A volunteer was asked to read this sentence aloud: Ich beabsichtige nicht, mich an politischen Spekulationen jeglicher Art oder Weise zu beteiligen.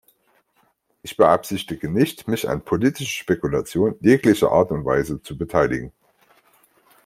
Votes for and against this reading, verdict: 0, 2, rejected